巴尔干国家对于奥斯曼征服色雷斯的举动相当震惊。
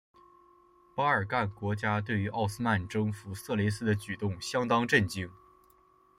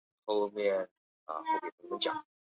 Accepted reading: first